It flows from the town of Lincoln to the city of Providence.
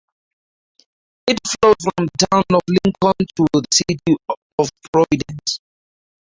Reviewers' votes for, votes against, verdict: 0, 4, rejected